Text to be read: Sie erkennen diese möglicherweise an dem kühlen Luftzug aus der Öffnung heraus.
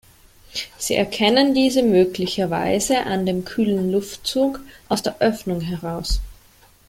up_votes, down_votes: 2, 0